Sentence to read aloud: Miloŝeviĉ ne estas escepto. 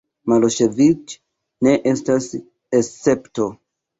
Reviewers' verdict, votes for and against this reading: rejected, 1, 2